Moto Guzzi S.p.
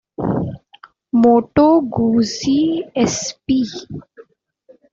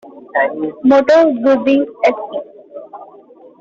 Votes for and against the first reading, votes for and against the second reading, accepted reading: 2, 1, 0, 2, first